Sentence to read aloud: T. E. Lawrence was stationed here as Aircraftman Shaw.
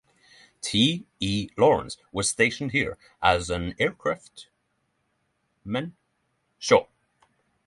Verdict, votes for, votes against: rejected, 0, 3